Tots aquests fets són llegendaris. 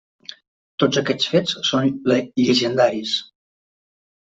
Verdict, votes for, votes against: rejected, 0, 2